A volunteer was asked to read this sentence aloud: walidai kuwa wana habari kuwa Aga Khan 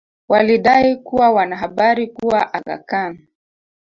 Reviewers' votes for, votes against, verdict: 1, 2, rejected